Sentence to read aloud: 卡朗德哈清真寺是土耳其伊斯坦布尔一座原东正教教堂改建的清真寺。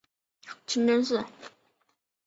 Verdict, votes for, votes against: rejected, 0, 4